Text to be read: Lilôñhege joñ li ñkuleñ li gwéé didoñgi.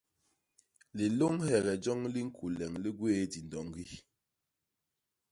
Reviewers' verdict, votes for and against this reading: accepted, 2, 0